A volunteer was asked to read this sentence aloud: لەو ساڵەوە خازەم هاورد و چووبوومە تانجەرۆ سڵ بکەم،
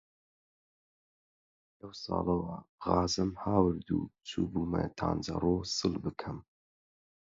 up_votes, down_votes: 4, 0